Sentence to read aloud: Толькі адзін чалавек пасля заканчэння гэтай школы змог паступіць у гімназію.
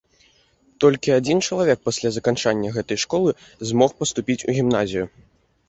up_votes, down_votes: 0, 2